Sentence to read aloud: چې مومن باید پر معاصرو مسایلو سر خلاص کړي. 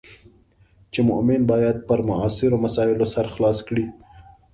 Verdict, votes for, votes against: accepted, 2, 0